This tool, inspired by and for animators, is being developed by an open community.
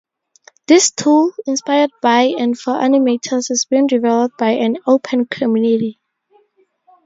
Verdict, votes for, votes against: accepted, 2, 0